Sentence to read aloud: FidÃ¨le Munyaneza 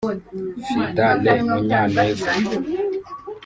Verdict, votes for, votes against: rejected, 1, 2